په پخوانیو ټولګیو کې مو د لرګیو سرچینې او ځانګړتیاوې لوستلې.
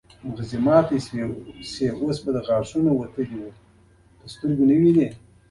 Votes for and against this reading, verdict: 2, 1, accepted